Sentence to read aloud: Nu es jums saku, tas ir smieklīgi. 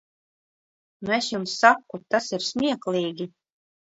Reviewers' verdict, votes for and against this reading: accepted, 2, 1